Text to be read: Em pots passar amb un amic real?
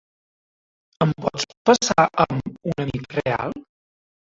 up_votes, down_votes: 1, 2